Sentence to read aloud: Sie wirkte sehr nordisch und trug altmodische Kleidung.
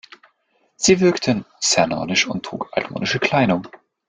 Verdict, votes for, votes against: rejected, 0, 2